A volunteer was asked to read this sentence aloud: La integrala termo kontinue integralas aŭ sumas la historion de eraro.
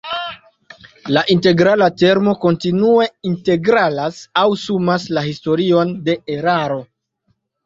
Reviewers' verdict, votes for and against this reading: accepted, 2, 0